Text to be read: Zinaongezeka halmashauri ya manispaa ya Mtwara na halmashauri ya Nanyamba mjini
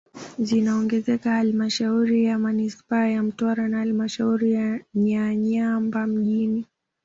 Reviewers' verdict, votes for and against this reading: accepted, 2, 0